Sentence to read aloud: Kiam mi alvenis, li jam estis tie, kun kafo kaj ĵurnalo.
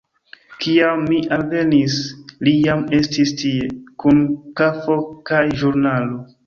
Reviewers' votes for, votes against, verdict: 2, 0, accepted